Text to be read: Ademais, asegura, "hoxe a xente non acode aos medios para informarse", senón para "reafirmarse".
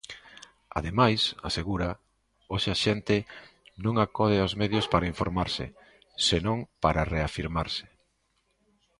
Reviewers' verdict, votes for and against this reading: accepted, 2, 0